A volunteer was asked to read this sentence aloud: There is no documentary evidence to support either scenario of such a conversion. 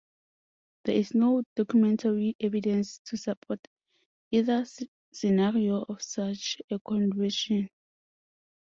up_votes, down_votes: 0, 2